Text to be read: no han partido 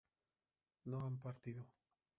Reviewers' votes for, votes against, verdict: 0, 2, rejected